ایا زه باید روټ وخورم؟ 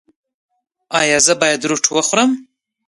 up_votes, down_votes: 2, 0